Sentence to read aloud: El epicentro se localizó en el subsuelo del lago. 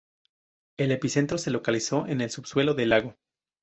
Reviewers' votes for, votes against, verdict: 2, 0, accepted